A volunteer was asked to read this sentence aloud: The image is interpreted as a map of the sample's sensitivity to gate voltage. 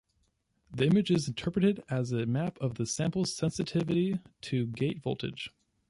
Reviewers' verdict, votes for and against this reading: rejected, 0, 2